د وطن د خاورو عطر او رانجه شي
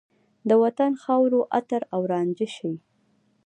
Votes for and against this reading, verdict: 2, 0, accepted